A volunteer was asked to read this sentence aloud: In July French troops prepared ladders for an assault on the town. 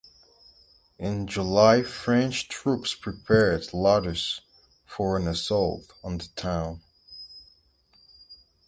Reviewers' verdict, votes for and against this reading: accepted, 4, 0